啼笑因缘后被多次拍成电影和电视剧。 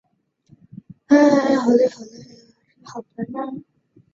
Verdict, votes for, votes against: rejected, 0, 2